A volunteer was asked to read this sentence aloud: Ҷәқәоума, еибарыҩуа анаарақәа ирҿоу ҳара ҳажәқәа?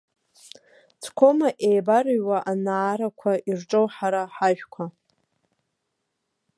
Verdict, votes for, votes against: rejected, 1, 2